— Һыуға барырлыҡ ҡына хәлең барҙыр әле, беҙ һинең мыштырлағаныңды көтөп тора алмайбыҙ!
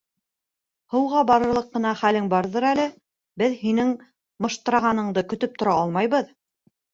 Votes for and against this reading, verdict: 1, 2, rejected